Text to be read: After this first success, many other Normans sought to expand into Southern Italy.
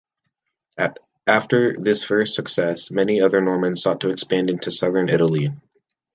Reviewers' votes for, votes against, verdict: 1, 2, rejected